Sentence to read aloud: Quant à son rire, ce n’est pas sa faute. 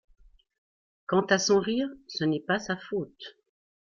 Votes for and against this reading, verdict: 2, 0, accepted